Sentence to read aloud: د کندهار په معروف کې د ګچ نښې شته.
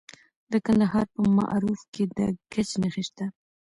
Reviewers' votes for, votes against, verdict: 2, 1, accepted